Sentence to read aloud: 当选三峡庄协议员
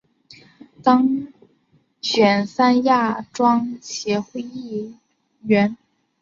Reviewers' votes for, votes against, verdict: 0, 2, rejected